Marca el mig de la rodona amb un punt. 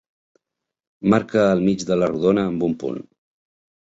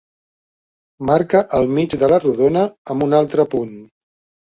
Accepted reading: first